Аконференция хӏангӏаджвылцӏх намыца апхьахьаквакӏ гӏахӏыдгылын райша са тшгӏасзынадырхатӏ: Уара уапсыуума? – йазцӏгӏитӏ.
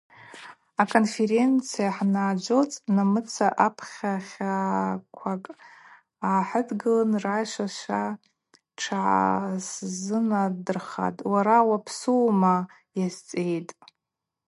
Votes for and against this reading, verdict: 0, 2, rejected